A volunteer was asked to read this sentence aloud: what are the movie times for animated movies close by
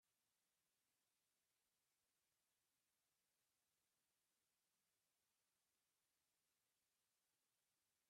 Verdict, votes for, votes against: rejected, 0, 2